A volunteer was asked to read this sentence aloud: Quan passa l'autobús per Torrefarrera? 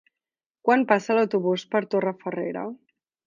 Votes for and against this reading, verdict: 2, 0, accepted